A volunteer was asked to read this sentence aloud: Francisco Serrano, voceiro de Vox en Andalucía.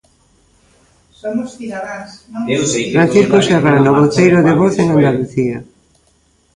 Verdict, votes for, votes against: rejected, 0, 2